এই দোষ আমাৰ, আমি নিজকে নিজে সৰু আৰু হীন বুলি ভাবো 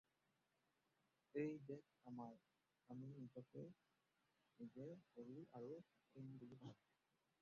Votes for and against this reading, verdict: 0, 4, rejected